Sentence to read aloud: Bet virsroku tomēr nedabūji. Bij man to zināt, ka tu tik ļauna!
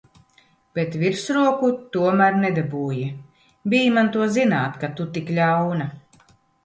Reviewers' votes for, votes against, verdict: 2, 0, accepted